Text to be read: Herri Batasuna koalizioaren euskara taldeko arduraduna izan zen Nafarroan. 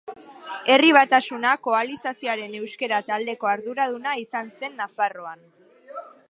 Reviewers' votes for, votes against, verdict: 1, 2, rejected